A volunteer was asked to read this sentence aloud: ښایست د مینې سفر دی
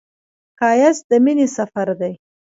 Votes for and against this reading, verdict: 2, 1, accepted